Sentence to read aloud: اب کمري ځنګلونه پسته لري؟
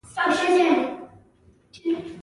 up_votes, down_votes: 1, 2